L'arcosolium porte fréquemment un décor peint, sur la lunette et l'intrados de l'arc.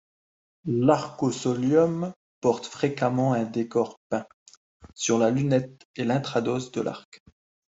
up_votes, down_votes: 2, 1